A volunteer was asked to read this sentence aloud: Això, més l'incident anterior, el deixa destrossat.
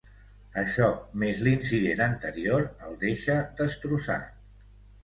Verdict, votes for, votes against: accepted, 2, 0